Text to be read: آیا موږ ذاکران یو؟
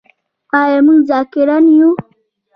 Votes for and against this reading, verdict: 1, 2, rejected